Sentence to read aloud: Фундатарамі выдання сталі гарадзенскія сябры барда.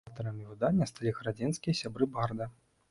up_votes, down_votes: 0, 2